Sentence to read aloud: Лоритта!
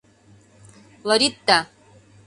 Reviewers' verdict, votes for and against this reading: accepted, 2, 0